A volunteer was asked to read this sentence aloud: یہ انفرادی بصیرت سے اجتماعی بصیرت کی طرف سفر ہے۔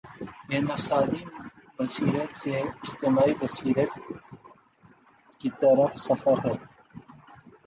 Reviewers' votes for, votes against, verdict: 0, 2, rejected